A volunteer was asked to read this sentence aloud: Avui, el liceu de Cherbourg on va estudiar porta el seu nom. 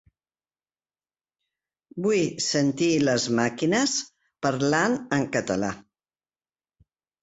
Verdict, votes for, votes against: rejected, 0, 2